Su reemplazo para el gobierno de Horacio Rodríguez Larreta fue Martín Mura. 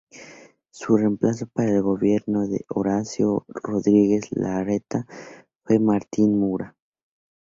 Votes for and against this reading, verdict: 2, 0, accepted